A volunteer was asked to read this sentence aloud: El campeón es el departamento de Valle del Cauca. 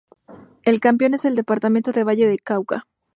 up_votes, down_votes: 2, 0